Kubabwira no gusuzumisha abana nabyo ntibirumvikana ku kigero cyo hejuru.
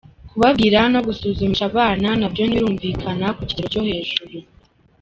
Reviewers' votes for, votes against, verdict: 2, 0, accepted